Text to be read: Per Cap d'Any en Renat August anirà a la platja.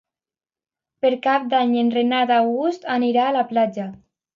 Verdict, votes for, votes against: accepted, 2, 0